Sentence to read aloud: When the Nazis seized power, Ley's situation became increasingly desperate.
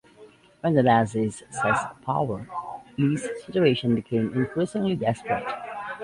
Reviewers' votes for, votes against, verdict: 2, 0, accepted